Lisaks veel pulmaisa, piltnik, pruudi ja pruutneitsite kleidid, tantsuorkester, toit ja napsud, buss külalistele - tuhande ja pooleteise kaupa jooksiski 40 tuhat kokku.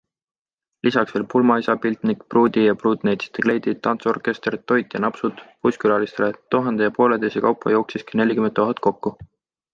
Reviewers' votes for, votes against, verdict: 0, 2, rejected